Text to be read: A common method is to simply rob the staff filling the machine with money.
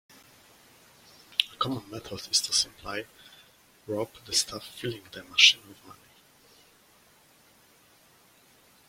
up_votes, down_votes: 0, 2